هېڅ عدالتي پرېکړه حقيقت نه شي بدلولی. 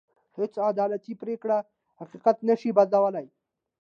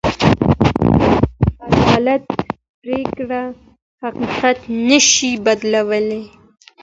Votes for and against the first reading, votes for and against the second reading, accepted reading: 2, 0, 0, 2, first